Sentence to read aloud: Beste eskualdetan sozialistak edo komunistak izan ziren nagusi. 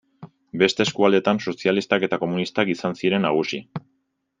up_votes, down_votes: 1, 2